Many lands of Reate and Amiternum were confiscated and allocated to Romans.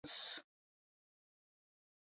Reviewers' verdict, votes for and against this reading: rejected, 0, 2